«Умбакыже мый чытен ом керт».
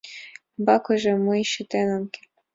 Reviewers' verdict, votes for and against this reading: accepted, 2, 1